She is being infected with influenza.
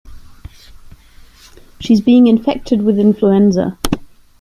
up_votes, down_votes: 2, 1